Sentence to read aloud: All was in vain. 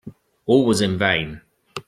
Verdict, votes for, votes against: accepted, 2, 0